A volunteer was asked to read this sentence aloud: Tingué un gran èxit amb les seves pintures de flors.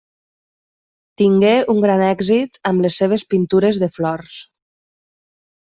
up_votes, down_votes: 3, 0